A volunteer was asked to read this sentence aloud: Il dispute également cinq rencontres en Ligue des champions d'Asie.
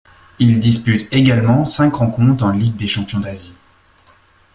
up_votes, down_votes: 2, 0